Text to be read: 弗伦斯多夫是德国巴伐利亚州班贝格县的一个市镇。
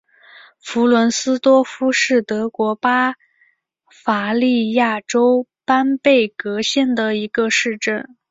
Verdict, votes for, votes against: accepted, 2, 1